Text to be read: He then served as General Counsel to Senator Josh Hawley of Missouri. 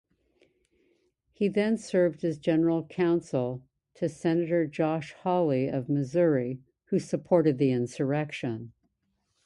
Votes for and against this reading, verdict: 0, 2, rejected